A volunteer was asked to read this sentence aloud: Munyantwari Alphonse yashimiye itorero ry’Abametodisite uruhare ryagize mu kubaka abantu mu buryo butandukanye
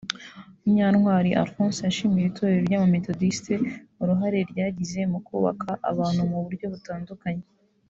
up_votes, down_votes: 1, 2